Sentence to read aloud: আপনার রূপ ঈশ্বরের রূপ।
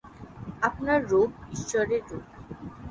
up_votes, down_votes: 45, 3